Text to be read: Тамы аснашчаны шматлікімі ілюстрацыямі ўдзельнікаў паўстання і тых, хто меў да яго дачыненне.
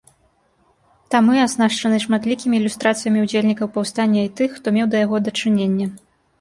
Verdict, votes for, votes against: accepted, 2, 0